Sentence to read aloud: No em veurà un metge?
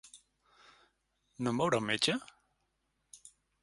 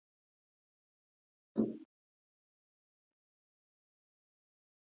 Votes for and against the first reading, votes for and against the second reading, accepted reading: 6, 0, 1, 2, first